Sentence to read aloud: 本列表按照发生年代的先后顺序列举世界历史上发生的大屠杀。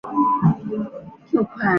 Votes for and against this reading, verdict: 2, 4, rejected